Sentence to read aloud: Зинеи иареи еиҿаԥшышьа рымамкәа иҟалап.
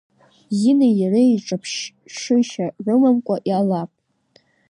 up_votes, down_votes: 1, 2